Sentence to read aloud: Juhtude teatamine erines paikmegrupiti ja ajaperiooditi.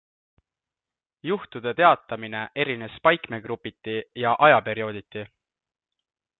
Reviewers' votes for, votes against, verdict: 2, 0, accepted